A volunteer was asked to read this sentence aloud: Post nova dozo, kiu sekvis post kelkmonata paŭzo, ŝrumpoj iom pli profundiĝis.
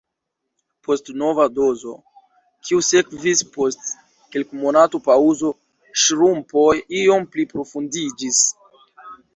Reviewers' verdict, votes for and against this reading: rejected, 1, 2